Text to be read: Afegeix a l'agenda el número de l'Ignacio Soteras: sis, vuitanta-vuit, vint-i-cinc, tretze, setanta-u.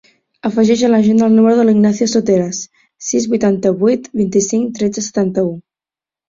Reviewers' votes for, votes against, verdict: 2, 0, accepted